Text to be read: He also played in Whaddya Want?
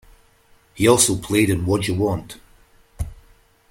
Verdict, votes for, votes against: rejected, 1, 2